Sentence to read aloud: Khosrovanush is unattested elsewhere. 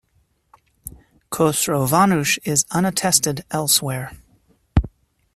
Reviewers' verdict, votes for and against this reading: accepted, 2, 0